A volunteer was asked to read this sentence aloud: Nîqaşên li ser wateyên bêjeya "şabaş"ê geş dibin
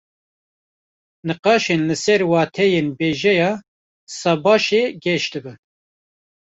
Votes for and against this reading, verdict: 1, 2, rejected